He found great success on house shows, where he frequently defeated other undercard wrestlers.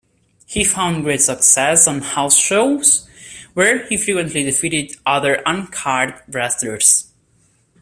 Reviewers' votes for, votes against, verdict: 0, 2, rejected